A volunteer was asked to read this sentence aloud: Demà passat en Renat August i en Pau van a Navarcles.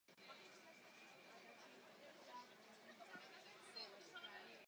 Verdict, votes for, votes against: rejected, 0, 2